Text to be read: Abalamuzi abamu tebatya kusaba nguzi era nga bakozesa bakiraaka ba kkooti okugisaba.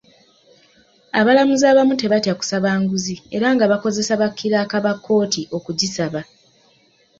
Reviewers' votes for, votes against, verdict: 2, 0, accepted